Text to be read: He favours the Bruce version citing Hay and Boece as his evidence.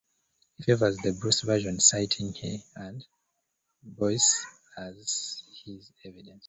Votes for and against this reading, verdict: 1, 2, rejected